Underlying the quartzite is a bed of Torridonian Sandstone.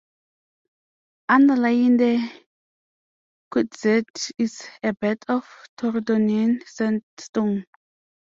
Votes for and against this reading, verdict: 0, 2, rejected